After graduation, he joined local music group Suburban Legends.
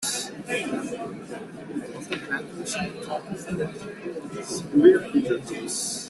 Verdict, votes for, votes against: rejected, 0, 2